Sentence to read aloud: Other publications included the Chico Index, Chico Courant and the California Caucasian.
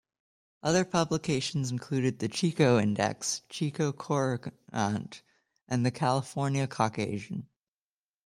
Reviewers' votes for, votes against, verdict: 1, 2, rejected